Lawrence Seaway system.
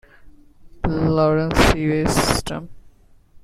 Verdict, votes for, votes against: rejected, 1, 2